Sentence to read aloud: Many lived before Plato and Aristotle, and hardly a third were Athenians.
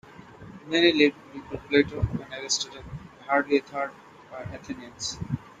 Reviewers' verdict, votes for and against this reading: accepted, 2, 0